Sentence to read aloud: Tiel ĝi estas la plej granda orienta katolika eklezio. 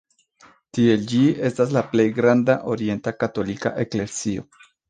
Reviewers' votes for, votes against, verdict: 3, 0, accepted